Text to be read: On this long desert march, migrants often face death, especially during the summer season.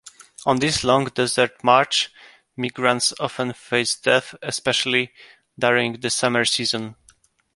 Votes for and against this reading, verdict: 1, 2, rejected